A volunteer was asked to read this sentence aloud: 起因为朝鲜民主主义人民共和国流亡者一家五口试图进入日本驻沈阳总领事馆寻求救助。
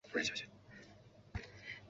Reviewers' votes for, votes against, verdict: 0, 2, rejected